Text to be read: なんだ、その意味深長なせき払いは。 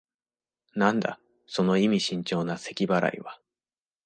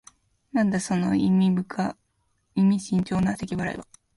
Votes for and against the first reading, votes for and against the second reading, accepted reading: 2, 1, 0, 2, first